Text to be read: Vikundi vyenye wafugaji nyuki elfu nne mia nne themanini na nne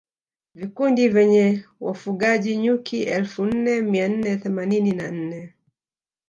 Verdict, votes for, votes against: rejected, 1, 2